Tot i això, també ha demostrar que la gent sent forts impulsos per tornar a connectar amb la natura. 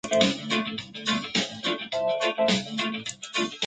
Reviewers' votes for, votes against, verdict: 0, 3, rejected